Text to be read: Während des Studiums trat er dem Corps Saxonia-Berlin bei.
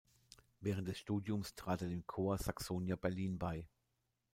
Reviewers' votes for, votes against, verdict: 2, 0, accepted